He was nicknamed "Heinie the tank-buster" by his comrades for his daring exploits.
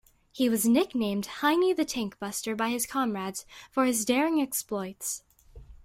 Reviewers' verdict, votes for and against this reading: accepted, 2, 0